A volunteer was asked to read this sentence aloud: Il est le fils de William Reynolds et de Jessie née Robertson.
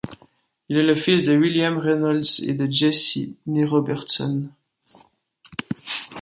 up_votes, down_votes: 2, 0